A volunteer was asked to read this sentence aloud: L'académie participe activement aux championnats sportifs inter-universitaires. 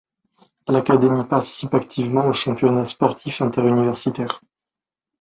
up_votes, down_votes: 2, 0